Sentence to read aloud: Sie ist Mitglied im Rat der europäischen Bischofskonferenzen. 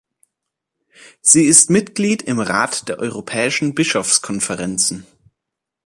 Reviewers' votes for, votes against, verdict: 2, 0, accepted